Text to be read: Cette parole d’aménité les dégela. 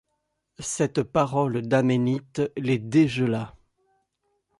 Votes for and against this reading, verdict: 1, 2, rejected